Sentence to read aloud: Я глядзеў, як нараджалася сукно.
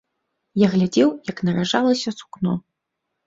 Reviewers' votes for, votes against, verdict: 1, 2, rejected